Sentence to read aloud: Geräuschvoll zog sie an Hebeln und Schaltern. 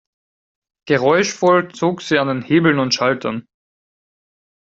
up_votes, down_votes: 2, 4